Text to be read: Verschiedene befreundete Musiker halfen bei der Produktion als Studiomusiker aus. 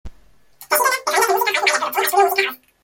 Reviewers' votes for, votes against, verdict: 0, 2, rejected